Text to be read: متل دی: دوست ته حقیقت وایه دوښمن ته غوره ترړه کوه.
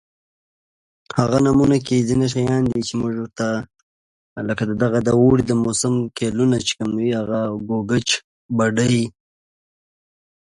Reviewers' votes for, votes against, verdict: 1, 2, rejected